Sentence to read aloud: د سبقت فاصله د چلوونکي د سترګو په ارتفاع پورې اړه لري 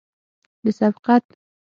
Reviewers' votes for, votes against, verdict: 0, 6, rejected